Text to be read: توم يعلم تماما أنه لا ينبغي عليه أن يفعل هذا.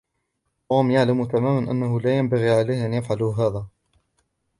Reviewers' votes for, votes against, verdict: 1, 2, rejected